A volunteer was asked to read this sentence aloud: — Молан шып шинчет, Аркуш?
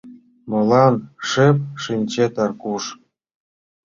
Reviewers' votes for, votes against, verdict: 2, 0, accepted